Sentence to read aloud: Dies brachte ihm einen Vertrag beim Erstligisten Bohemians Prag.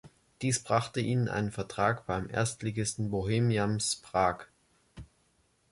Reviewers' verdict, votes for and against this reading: accepted, 2, 1